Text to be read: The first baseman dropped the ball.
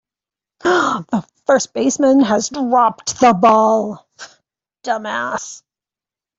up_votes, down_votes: 1, 2